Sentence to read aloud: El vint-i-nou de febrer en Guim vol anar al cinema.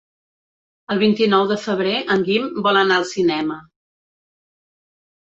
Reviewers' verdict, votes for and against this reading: accepted, 3, 0